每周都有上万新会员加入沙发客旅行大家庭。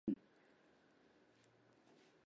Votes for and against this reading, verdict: 0, 2, rejected